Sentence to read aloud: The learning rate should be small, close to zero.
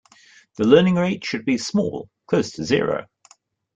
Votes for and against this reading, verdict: 2, 1, accepted